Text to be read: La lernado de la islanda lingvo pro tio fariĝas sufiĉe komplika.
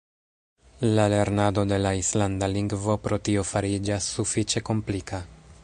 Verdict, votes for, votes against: rejected, 1, 2